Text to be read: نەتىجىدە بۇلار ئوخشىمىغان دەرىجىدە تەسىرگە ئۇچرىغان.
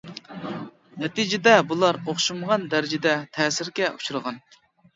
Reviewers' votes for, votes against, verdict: 2, 0, accepted